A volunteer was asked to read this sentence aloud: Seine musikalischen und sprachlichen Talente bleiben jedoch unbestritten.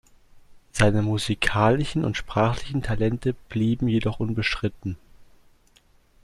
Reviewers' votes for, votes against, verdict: 1, 3, rejected